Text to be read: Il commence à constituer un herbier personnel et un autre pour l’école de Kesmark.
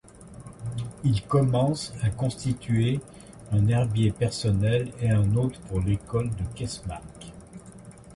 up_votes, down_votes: 2, 1